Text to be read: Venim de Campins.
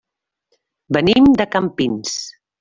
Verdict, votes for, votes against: accepted, 3, 0